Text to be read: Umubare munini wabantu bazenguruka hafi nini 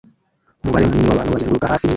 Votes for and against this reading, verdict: 0, 2, rejected